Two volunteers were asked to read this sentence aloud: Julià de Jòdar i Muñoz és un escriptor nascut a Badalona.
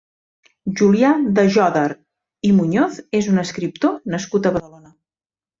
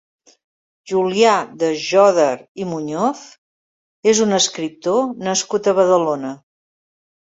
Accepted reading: second